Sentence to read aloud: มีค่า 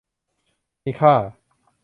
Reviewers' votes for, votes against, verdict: 2, 0, accepted